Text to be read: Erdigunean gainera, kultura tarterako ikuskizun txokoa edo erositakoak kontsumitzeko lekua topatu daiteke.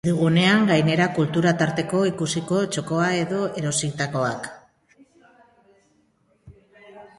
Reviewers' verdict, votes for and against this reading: rejected, 1, 2